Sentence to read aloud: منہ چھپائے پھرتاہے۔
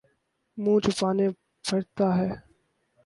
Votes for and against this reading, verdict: 0, 6, rejected